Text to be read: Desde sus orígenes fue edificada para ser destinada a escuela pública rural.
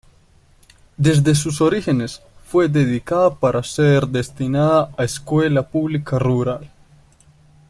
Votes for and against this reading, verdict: 0, 2, rejected